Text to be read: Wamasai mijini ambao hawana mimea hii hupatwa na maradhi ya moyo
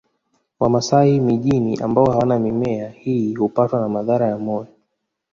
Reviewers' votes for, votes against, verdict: 2, 1, accepted